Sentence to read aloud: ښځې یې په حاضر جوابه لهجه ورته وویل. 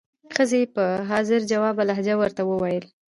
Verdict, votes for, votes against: accepted, 2, 0